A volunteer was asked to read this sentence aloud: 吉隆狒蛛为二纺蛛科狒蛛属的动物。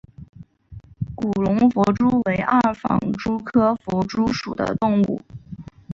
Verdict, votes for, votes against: accepted, 2, 1